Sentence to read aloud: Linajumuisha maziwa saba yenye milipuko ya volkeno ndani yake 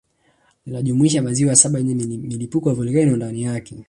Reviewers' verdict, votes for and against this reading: rejected, 0, 2